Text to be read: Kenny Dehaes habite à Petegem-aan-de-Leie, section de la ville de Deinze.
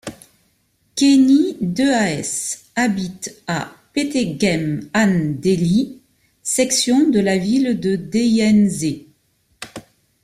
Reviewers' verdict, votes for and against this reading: rejected, 1, 2